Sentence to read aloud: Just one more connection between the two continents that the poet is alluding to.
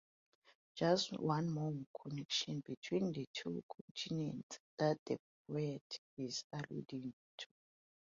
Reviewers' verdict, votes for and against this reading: rejected, 1, 2